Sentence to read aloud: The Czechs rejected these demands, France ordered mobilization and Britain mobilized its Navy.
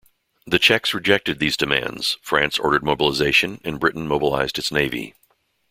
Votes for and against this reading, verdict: 2, 0, accepted